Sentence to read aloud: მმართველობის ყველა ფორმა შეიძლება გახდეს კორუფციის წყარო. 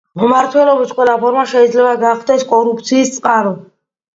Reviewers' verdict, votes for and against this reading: accepted, 2, 0